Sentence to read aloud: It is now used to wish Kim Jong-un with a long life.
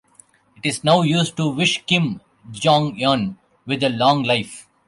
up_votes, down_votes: 1, 2